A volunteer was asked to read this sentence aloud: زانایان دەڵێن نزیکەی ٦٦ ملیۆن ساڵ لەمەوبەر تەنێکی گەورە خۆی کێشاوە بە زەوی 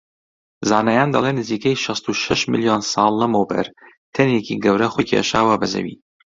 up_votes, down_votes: 0, 2